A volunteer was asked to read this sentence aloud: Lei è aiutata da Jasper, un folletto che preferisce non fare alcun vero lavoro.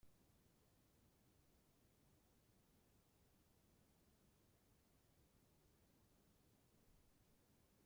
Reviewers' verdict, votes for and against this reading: rejected, 0, 2